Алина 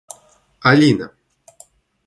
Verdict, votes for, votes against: accepted, 2, 0